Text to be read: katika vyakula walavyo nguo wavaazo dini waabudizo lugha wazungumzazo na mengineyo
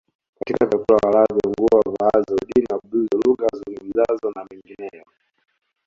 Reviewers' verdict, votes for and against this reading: rejected, 0, 2